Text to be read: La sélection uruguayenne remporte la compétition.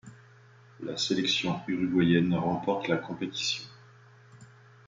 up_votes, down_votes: 2, 0